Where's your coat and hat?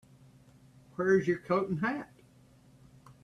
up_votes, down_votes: 2, 1